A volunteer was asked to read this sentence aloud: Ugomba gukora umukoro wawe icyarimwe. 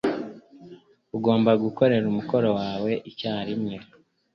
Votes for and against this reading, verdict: 0, 2, rejected